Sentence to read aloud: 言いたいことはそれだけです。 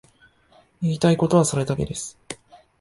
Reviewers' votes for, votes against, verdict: 0, 2, rejected